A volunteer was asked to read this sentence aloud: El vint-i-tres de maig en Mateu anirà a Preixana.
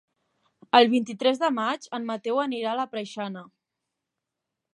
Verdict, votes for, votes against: rejected, 1, 2